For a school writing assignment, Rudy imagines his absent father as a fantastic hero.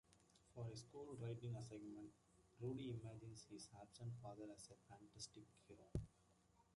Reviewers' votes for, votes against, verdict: 0, 2, rejected